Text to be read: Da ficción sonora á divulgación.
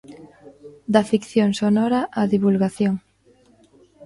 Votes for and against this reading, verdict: 2, 0, accepted